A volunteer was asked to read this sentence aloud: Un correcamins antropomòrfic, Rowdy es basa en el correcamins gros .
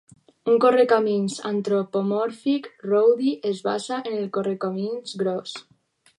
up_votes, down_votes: 4, 0